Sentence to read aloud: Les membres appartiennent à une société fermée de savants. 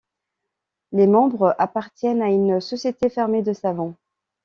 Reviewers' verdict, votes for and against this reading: accepted, 2, 0